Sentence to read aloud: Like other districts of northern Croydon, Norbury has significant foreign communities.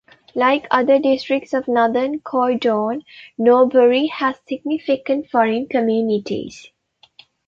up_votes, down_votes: 0, 2